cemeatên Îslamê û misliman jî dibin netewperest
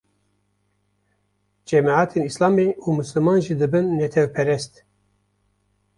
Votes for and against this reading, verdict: 2, 0, accepted